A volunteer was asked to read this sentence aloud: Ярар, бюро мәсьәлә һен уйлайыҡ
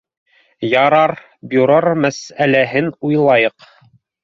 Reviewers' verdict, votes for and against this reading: rejected, 1, 2